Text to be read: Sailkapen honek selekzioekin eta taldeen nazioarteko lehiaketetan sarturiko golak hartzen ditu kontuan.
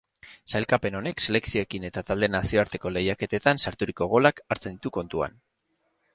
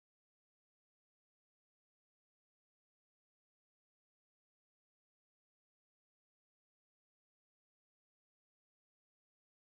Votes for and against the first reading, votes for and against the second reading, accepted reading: 4, 0, 1, 2, first